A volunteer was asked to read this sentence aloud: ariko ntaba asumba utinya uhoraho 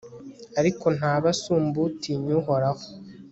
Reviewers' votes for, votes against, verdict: 3, 1, accepted